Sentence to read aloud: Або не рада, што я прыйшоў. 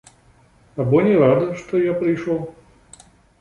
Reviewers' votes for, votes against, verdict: 1, 2, rejected